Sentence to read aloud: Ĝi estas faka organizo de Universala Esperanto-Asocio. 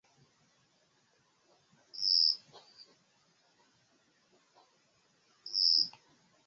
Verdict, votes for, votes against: rejected, 0, 3